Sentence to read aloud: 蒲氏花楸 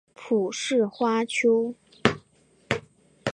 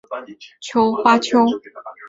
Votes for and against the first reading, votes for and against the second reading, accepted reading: 2, 0, 0, 2, first